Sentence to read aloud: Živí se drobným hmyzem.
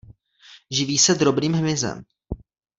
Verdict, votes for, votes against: accepted, 2, 0